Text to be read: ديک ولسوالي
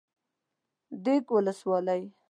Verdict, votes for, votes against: rejected, 1, 2